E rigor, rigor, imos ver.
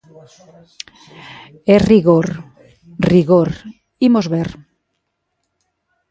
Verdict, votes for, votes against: accepted, 2, 0